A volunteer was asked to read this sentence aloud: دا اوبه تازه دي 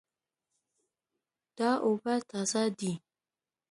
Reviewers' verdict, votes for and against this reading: accepted, 2, 0